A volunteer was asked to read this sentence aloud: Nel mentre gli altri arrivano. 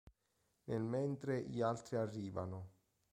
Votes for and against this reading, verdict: 3, 0, accepted